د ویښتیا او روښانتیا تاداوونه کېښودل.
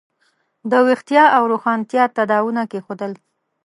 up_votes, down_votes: 2, 0